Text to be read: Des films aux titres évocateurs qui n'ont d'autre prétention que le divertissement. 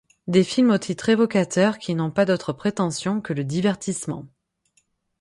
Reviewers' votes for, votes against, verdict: 3, 6, rejected